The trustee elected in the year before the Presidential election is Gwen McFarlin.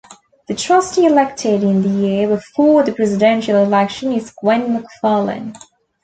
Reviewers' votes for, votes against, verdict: 3, 0, accepted